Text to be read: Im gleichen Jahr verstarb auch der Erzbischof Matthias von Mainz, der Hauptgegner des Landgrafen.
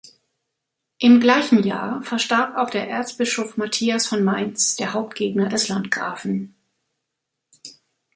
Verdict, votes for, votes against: rejected, 0, 2